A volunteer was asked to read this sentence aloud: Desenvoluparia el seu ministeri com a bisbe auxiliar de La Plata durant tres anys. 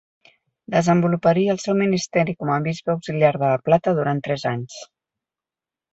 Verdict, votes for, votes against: rejected, 0, 4